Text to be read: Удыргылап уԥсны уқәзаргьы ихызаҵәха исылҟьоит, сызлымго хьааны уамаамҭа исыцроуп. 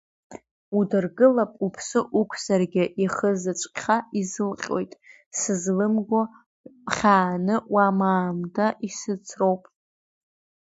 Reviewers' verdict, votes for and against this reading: rejected, 1, 2